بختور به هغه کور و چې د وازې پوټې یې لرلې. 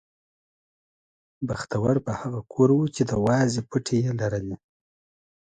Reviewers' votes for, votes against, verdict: 2, 0, accepted